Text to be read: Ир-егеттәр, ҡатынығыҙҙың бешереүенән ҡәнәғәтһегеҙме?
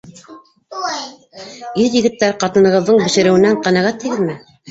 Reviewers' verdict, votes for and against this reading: rejected, 0, 2